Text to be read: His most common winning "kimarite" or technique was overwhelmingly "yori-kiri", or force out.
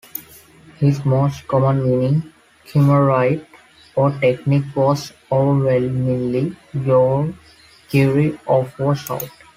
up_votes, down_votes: 0, 2